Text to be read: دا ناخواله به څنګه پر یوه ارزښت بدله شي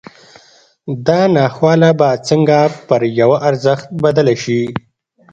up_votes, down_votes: 2, 0